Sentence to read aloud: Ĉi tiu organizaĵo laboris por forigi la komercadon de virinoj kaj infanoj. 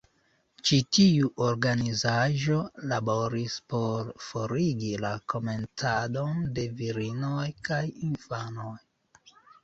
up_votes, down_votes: 0, 2